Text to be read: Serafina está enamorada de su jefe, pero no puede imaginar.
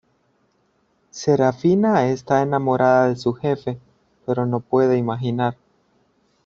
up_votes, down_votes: 2, 0